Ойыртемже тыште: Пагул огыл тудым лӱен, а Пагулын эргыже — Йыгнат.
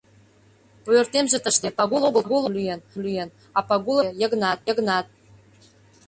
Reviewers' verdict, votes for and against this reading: rejected, 0, 2